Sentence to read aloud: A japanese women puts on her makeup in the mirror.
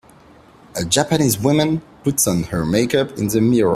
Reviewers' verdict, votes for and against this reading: accepted, 2, 1